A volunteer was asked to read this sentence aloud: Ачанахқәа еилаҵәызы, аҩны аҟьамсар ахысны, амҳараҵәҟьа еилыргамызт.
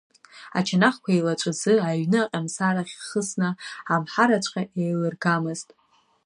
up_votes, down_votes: 0, 2